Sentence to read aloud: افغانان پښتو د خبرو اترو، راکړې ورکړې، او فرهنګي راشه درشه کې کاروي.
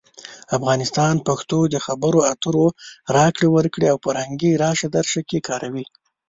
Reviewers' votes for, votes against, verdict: 1, 2, rejected